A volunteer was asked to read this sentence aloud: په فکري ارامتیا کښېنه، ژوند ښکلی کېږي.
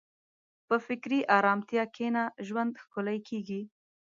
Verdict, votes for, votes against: accepted, 2, 0